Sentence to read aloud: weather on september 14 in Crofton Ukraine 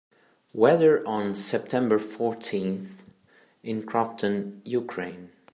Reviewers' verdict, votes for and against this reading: rejected, 0, 2